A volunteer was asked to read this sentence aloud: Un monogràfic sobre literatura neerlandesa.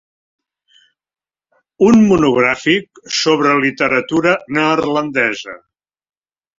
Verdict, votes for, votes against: accepted, 2, 0